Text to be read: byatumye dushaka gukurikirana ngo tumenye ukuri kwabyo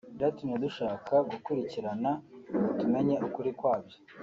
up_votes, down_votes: 0, 2